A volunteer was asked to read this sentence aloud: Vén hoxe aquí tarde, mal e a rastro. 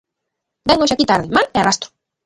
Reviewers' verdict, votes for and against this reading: rejected, 0, 2